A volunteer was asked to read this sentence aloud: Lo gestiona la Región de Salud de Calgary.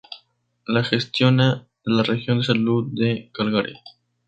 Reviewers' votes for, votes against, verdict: 0, 2, rejected